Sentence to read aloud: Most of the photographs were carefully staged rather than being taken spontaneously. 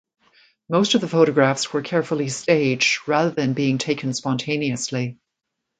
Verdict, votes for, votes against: accepted, 2, 0